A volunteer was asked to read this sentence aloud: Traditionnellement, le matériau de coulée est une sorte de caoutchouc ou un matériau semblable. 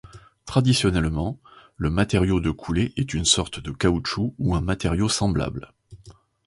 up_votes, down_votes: 2, 0